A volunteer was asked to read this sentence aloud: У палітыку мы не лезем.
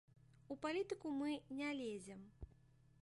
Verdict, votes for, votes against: accepted, 2, 0